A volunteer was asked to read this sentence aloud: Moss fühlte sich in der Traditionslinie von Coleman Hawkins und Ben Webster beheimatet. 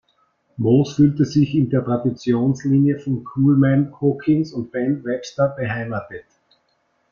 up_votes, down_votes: 0, 2